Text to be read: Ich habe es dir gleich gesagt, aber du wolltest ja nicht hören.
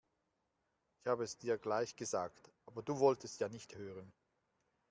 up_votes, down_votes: 2, 0